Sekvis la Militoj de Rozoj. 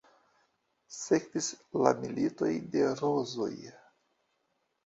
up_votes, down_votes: 2, 1